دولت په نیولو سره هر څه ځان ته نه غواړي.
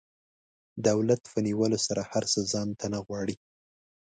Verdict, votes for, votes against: accepted, 2, 0